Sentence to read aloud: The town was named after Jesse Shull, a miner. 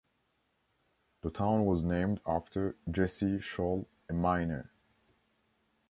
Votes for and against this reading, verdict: 2, 1, accepted